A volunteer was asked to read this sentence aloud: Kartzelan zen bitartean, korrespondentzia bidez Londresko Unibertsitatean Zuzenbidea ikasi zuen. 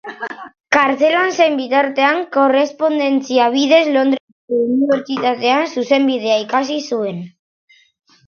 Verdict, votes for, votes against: rejected, 0, 3